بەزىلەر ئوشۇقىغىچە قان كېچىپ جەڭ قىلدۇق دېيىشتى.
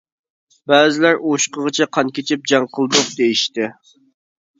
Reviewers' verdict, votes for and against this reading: accepted, 2, 1